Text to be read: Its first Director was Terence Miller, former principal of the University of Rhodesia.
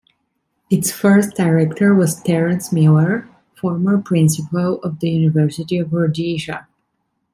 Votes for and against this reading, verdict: 2, 0, accepted